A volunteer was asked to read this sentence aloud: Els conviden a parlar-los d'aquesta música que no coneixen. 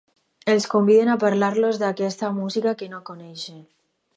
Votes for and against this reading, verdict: 4, 0, accepted